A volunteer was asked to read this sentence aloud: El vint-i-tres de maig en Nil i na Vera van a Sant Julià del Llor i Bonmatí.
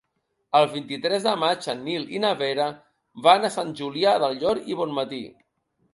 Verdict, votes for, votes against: accepted, 3, 0